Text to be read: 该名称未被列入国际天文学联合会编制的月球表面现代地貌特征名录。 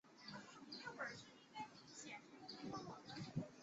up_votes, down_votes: 0, 2